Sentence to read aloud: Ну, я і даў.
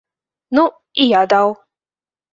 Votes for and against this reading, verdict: 0, 2, rejected